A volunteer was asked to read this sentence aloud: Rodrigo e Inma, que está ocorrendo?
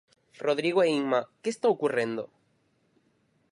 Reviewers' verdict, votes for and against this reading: rejected, 0, 4